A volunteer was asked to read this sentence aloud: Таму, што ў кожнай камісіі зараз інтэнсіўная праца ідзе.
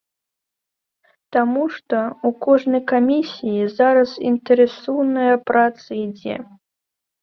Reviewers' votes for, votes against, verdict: 0, 2, rejected